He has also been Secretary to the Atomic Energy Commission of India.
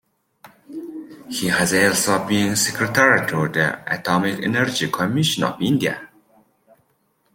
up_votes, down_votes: 2, 0